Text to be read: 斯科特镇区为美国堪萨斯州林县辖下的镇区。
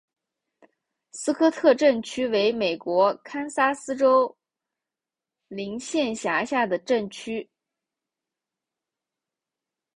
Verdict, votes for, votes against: accepted, 3, 1